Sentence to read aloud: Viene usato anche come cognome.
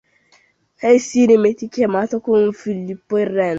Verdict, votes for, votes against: rejected, 0, 2